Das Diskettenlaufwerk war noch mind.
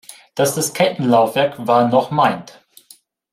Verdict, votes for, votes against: rejected, 1, 2